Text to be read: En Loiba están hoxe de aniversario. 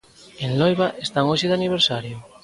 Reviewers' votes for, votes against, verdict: 2, 0, accepted